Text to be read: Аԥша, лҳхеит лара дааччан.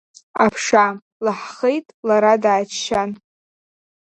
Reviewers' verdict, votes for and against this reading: accepted, 2, 1